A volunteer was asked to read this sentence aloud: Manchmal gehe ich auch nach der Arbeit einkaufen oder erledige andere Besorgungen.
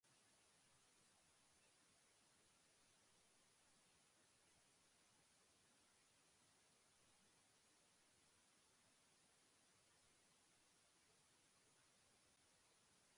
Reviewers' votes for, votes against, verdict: 0, 2, rejected